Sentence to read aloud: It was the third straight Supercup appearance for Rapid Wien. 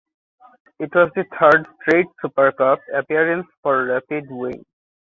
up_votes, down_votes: 2, 0